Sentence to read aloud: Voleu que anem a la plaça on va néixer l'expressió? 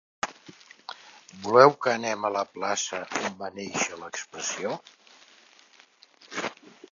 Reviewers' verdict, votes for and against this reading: rejected, 0, 2